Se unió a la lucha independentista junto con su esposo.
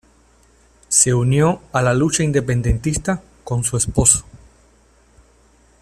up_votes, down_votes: 0, 2